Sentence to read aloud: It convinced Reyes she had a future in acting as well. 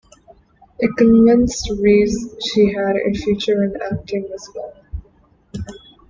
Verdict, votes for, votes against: rejected, 1, 2